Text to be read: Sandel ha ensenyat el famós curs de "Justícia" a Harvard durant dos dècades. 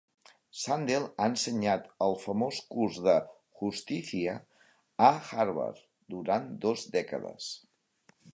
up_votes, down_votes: 1, 2